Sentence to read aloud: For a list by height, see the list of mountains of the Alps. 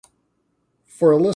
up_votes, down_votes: 0, 3